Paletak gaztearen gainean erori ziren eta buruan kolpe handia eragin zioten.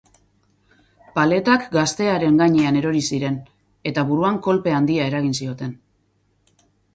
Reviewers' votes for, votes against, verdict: 8, 0, accepted